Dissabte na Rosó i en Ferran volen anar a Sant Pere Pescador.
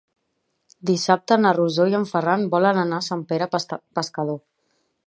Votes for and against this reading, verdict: 1, 2, rejected